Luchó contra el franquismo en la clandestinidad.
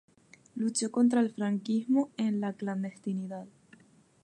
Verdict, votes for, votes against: accepted, 4, 0